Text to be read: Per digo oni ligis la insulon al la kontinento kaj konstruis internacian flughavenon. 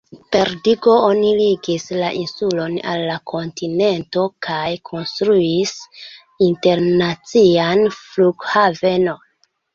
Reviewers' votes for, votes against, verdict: 1, 2, rejected